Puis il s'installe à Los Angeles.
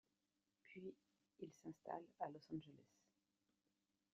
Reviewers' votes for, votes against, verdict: 2, 0, accepted